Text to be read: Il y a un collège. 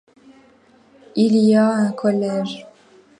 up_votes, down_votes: 2, 0